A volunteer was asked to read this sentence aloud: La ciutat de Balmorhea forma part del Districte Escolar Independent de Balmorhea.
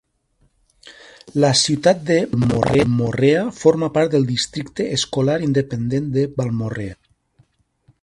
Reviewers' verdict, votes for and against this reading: rejected, 0, 2